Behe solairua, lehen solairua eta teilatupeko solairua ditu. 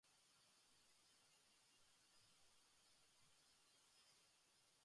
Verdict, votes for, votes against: rejected, 0, 3